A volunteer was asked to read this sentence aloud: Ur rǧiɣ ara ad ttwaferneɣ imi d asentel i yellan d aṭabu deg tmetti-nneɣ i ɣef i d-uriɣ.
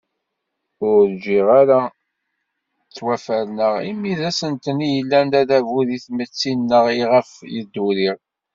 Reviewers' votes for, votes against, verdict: 1, 2, rejected